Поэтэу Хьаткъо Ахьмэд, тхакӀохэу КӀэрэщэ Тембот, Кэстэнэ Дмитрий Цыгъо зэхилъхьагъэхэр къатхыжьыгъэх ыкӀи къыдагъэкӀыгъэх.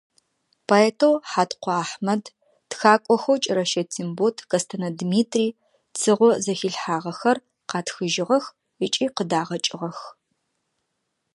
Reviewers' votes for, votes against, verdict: 2, 0, accepted